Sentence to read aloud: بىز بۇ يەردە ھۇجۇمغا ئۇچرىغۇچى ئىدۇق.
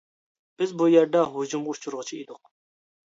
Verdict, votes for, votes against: accepted, 2, 0